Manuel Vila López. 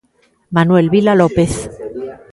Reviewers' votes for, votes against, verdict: 1, 2, rejected